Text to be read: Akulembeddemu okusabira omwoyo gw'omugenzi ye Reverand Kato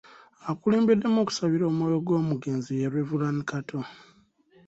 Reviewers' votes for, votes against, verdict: 2, 0, accepted